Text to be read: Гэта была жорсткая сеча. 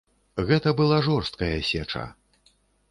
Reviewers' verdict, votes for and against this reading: accepted, 2, 0